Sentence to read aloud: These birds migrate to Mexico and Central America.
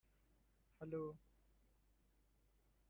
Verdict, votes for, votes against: rejected, 0, 2